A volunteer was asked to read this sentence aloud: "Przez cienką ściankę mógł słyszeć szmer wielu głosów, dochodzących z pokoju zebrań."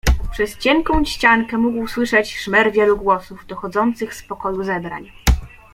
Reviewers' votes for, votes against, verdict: 2, 0, accepted